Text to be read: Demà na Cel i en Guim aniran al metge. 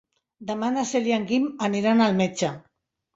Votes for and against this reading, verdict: 3, 0, accepted